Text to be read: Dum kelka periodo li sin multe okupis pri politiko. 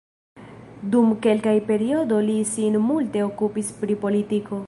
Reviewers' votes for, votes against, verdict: 1, 2, rejected